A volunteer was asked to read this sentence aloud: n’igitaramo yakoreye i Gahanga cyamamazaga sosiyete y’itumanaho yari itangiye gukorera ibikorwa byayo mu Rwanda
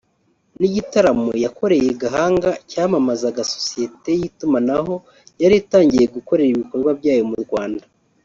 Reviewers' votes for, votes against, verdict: 1, 2, rejected